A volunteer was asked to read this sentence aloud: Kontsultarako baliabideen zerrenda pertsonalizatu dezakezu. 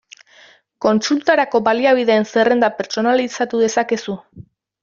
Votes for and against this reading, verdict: 2, 0, accepted